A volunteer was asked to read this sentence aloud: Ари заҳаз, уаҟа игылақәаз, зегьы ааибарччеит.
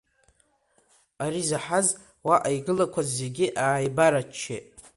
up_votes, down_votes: 2, 0